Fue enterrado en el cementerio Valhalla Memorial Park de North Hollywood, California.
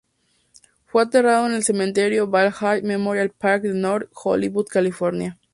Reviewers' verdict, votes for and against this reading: accepted, 2, 0